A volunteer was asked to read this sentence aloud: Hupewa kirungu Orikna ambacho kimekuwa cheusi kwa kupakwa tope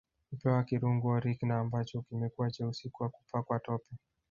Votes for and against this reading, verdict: 1, 2, rejected